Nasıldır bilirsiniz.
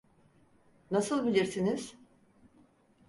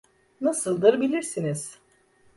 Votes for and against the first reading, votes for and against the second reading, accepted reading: 0, 4, 2, 0, second